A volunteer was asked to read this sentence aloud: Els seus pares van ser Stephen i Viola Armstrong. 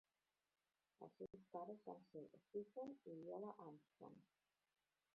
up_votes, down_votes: 0, 2